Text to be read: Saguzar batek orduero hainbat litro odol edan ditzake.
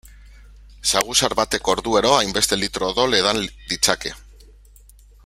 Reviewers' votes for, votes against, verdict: 0, 2, rejected